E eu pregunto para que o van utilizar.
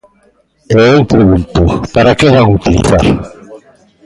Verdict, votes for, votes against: rejected, 1, 2